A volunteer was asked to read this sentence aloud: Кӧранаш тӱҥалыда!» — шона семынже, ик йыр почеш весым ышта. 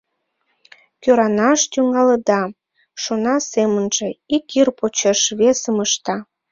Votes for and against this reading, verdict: 2, 0, accepted